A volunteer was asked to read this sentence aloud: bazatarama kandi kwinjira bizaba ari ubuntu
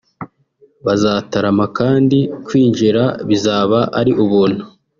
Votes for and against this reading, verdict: 1, 2, rejected